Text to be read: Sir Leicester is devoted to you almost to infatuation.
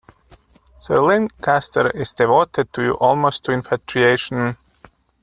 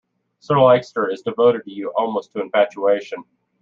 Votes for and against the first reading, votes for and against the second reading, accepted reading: 1, 2, 2, 0, second